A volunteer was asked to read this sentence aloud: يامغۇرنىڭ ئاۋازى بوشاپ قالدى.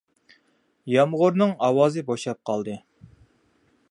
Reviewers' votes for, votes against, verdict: 2, 0, accepted